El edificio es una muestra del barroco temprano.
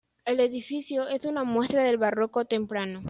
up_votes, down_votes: 2, 0